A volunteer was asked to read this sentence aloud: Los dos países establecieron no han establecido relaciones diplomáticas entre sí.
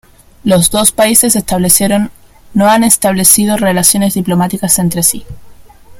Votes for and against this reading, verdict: 0, 2, rejected